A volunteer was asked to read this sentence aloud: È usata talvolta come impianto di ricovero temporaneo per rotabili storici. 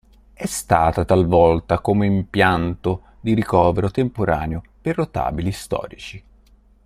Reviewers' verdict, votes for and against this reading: rejected, 1, 2